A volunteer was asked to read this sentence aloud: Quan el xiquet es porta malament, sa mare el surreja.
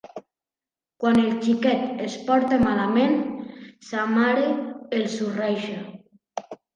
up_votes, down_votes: 2, 0